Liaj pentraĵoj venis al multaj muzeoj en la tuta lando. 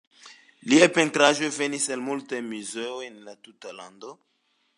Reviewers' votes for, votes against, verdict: 2, 0, accepted